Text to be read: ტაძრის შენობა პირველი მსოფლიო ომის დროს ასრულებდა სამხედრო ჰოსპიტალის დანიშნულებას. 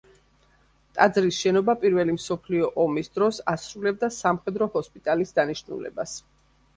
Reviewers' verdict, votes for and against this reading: accepted, 3, 0